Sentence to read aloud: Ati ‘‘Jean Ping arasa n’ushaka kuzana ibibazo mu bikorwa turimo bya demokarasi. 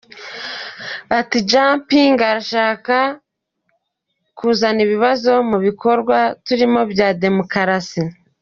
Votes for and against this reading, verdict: 1, 2, rejected